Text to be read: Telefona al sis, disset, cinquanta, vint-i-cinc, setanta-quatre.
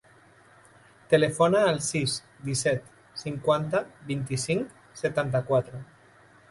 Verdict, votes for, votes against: accepted, 3, 0